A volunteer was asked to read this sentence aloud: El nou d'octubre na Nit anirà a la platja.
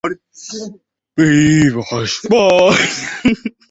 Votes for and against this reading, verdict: 0, 2, rejected